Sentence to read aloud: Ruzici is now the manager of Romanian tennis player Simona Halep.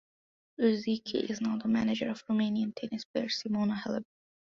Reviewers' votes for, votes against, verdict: 2, 1, accepted